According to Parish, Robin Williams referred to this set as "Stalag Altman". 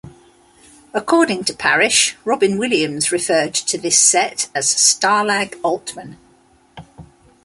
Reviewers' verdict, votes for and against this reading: accepted, 2, 0